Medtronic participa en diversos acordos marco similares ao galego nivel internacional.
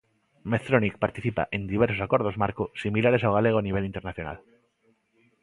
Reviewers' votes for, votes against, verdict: 2, 1, accepted